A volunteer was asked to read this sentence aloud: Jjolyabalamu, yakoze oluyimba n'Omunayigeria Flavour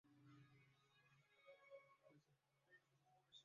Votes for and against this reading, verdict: 0, 2, rejected